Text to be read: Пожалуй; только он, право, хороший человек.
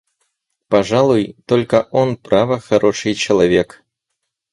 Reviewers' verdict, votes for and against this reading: accepted, 4, 0